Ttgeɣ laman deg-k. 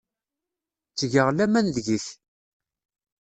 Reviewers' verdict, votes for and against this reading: accepted, 2, 0